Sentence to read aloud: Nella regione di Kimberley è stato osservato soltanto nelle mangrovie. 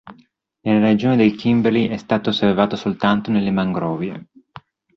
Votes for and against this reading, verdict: 2, 0, accepted